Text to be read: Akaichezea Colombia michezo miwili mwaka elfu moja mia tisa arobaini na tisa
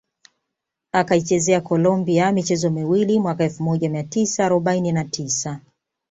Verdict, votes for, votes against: accepted, 2, 0